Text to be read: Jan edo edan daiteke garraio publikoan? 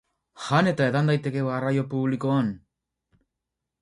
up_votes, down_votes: 0, 4